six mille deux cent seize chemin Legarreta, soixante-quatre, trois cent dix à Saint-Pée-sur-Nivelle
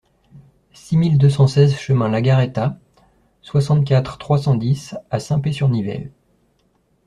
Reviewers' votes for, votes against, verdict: 1, 2, rejected